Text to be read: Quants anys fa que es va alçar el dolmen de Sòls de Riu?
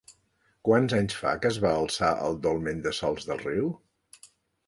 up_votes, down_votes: 2, 0